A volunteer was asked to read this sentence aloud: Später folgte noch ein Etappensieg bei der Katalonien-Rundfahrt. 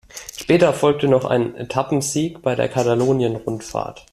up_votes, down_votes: 2, 0